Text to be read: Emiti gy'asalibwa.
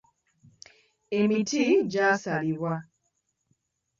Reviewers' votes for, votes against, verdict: 2, 1, accepted